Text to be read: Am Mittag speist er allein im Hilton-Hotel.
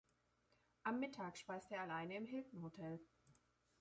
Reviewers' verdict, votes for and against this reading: accepted, 2, 0